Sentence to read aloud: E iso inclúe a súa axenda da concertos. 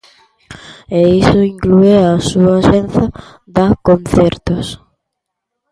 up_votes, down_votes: 0, 2